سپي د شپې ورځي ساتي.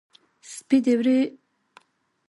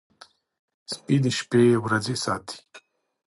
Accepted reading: second